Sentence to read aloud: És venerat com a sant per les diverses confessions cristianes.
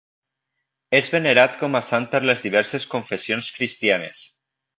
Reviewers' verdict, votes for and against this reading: accepted, 2, 0